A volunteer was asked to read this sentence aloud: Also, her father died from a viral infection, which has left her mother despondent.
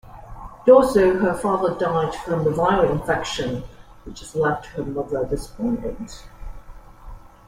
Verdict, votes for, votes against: accepted, 2, 0